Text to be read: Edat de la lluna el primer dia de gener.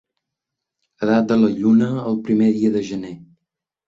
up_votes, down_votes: 3, 0